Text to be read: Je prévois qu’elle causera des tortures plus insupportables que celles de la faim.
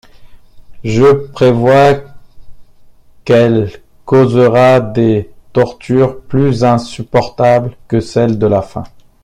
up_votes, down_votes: 2, 1